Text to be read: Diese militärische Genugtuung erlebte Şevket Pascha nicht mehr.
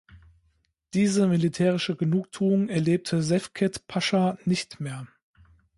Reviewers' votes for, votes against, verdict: 1, 2, rejected